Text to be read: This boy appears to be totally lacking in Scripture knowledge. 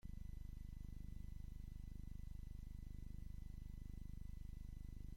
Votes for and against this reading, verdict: 0, 2, rejected